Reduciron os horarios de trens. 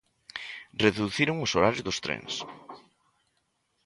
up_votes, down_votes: 1, 2